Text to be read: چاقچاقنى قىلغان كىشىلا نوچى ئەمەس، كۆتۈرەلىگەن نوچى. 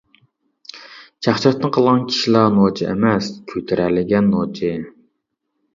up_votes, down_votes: 1, 2